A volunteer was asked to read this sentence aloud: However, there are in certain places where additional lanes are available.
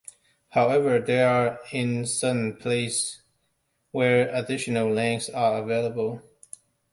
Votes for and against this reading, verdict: 2, 1, accepted